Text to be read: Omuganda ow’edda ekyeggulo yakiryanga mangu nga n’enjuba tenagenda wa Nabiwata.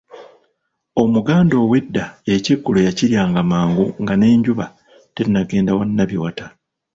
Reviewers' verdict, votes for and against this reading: rejected, 1, 2